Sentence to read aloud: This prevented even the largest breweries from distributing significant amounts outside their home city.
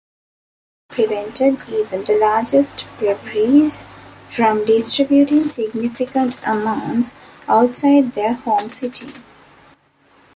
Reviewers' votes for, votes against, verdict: 0, 2, rejected